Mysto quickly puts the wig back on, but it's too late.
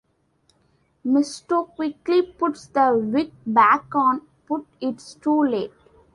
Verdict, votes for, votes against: accepted, 2, 0